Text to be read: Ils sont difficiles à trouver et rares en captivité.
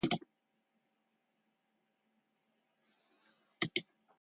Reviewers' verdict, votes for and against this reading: rejected, 0, 2